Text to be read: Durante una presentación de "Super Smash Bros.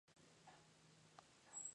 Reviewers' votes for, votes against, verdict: 0, 4, rejected